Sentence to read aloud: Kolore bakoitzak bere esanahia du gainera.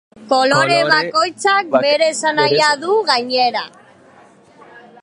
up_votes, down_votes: 0, 2